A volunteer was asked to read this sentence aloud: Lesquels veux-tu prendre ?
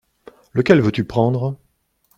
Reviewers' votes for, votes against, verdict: 0, 2, rejected